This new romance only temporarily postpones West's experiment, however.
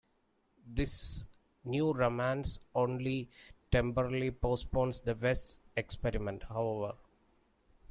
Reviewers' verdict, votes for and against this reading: rejected, 1, 2